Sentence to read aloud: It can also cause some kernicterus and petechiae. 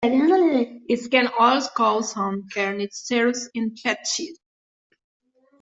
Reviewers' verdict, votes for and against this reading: rejected, 0, 2